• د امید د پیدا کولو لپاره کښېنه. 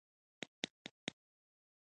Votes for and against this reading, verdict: 1, 2, rejected